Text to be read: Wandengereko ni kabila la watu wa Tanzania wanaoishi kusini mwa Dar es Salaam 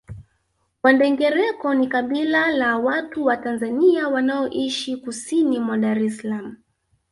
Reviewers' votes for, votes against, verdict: 2, 0, accepted